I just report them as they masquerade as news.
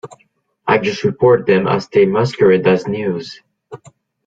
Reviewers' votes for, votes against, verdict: 2, 0, accepted